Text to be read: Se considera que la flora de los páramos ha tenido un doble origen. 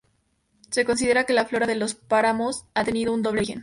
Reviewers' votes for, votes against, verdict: 2, 0, accepted